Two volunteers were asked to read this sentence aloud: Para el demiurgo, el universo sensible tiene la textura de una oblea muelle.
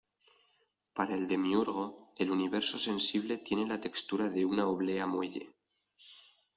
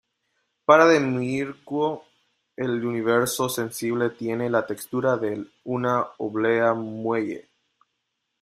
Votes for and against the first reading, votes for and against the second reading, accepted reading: 2, 0, 0, 2, first